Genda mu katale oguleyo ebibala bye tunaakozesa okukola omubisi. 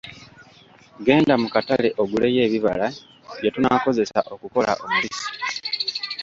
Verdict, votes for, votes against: accepted, 2, 1